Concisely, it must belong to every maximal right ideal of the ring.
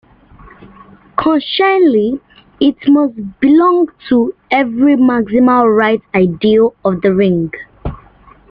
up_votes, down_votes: 0, 2